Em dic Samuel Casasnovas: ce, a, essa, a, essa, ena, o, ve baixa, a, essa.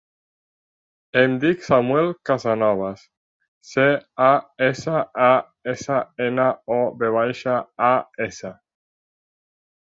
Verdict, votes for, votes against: rejected, 0, 2